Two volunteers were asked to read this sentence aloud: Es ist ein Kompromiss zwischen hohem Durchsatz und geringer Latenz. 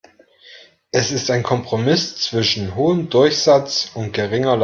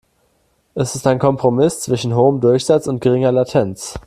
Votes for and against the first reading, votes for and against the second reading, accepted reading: 0, 3, 2, 0, second